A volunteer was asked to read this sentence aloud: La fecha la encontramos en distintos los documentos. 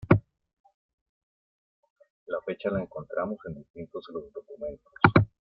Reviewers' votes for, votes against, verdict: 2, 0, accepted